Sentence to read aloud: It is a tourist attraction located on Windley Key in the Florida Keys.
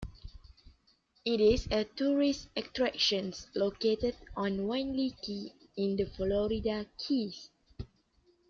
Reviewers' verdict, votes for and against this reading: rejected, 0, 2